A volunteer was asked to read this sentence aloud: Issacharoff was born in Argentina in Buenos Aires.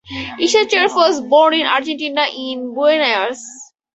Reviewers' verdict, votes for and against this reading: rejected, 0, 4